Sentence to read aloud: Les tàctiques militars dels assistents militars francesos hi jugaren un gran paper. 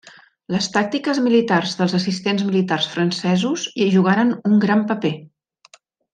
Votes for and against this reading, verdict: 3, 0, accepted